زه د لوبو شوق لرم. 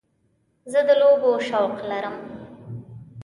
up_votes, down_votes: 2, 0